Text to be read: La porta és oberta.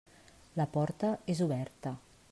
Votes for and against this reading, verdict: 3, 0, accepted